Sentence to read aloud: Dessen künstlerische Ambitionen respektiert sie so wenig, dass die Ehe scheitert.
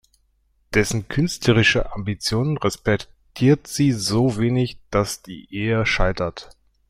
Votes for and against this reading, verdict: 0, 2, rejected